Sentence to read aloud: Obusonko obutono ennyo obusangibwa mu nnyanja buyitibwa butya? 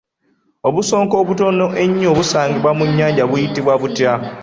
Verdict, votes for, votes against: rejected, 1, 2